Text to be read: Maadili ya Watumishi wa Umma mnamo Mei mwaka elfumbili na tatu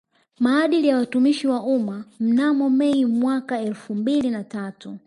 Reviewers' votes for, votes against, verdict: 1, 2, rejected